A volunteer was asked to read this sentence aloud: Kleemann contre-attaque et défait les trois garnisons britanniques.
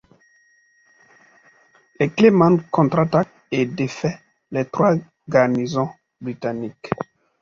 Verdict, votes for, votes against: rejected, 0, 2